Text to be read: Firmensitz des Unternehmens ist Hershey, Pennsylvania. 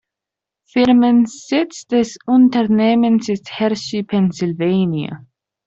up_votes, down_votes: 0, 2